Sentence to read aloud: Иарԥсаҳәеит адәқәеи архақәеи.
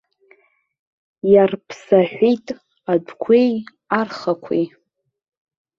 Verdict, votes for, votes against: rejected, 1, 2